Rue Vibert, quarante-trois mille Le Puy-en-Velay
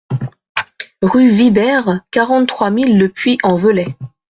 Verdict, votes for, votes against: accepted, 2, 1